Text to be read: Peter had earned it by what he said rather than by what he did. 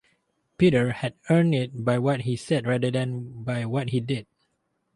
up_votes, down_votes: 4, 0